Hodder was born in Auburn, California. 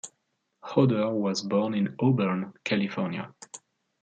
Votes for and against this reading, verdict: 2, 0, accepted